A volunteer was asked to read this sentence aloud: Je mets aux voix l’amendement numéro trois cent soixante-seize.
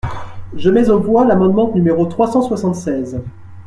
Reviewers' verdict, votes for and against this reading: rejected, 1, 2